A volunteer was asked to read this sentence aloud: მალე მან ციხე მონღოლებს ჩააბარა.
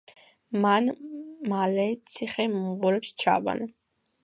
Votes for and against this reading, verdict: 1, 2, rejected